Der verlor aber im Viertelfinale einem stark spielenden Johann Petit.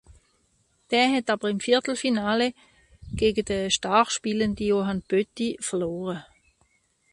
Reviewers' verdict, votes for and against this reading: rejected, 0, 2